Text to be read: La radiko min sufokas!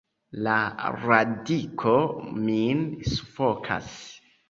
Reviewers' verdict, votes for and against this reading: accepted, 2, 0